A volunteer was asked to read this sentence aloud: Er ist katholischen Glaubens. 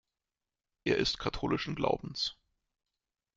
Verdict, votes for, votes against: rejected, 1, 2